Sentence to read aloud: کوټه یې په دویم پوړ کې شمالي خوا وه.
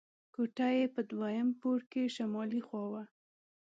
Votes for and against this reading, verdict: 2, 0, accepted